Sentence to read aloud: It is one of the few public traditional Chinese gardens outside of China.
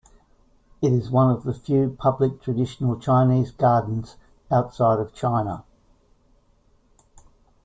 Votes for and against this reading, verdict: 2, 0, accepted